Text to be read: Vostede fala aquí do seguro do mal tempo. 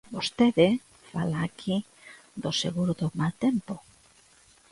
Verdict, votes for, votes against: accepted, 2, 0